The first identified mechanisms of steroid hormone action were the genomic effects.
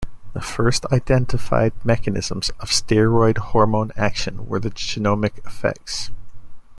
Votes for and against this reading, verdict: 2, 0, accepted